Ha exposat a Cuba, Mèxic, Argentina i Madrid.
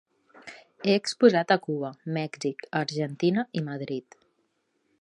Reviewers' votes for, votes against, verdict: 2, 0, accepted